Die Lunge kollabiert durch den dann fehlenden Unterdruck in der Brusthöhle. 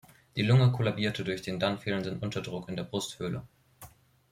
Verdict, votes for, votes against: rejected, 1, 2